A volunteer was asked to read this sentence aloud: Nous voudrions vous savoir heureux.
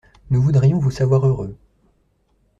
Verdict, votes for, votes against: accepted, 2, 0